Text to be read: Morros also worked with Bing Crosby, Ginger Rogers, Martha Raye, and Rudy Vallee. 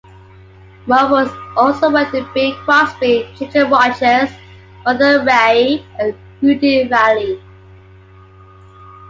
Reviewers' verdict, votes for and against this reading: accepted, 2, 0